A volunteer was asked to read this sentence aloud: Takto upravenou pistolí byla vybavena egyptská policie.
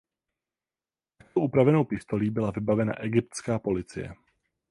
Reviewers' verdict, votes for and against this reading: rejected, 0, 8